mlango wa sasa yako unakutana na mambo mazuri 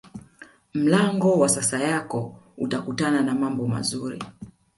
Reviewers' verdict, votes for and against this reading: rejected, 1, 2